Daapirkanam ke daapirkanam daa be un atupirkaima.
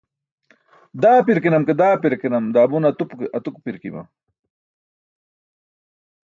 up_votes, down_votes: 2, 0